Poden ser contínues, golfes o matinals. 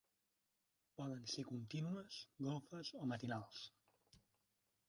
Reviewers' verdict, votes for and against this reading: rejected, 1, 2